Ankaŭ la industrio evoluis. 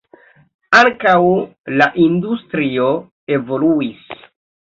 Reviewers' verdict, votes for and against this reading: rejected, 1, 2